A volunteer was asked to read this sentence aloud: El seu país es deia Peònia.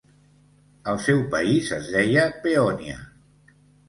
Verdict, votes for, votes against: accepted, 2, 0